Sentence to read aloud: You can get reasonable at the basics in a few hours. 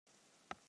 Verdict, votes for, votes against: rejected, 0, 2